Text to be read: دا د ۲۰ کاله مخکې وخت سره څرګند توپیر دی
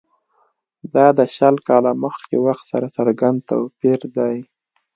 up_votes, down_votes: 0, 2